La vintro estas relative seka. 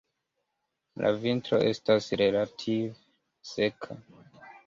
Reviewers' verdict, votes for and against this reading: accepted, 2, 0